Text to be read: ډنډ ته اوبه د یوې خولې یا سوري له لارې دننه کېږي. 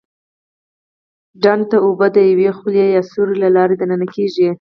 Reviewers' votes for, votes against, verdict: 2, 4, rejected